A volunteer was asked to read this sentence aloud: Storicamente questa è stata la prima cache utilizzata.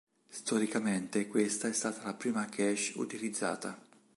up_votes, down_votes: 2, 0